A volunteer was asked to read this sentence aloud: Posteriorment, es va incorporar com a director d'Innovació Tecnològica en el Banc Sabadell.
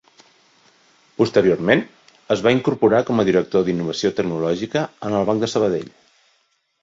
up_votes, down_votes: 2, 0